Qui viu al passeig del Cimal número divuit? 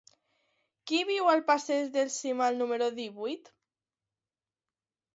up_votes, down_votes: 2, 0